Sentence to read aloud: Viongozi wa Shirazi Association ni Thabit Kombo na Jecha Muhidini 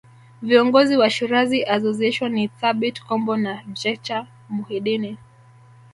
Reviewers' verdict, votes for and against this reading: accepted, 2, 1